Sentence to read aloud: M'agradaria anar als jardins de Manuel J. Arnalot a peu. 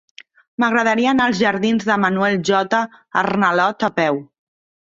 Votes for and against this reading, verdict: 3, 0, accepted